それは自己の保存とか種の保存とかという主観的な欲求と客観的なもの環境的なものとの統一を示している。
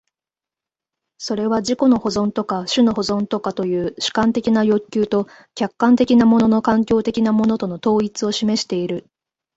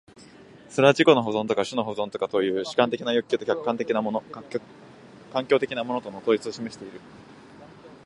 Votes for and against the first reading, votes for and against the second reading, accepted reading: 0, 2, 2, 0, second